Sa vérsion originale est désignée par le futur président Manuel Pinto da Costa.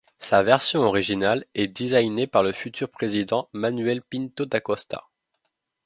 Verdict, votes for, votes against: rejected, 1, 2